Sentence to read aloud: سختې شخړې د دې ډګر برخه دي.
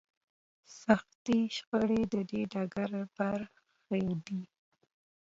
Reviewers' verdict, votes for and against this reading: rejected, 0, 2